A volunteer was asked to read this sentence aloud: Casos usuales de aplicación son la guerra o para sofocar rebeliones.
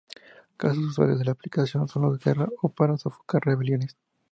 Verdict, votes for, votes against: rejected, 0, 2